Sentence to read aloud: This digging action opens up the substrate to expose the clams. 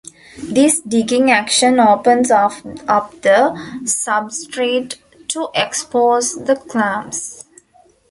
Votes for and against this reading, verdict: 0, 2, rejected